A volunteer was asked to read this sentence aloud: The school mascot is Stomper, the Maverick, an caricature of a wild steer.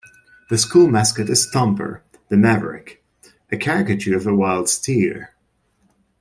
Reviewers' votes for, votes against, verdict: 0, 2, rejected